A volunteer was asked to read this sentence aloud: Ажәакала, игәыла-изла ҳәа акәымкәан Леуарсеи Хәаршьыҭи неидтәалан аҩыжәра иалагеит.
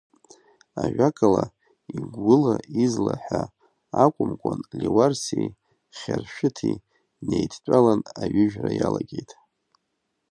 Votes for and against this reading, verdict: 0, 2, rejected